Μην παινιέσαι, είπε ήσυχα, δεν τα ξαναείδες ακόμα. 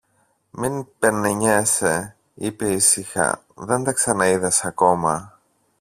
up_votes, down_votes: 0, 2